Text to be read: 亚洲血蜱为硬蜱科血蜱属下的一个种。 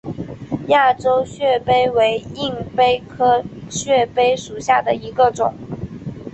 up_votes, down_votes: 4, 0